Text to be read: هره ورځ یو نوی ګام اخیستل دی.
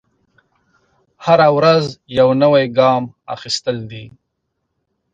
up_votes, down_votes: 2, 0